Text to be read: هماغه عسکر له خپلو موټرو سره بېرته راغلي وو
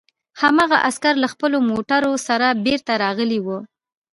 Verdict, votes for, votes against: accepted, 3, 0